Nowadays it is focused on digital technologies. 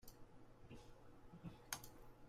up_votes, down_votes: 1, 2